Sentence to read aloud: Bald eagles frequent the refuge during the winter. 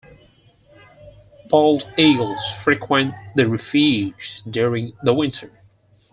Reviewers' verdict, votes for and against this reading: rejected, 2, 4